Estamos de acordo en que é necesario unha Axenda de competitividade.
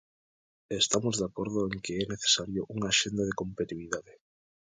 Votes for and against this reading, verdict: 1, 2, rejected